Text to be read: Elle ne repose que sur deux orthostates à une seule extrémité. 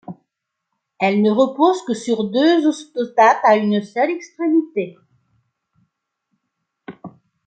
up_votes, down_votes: 0, 2